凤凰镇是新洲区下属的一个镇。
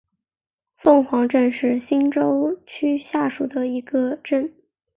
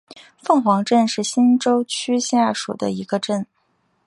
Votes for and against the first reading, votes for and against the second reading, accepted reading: 1, 2, 2, 0, second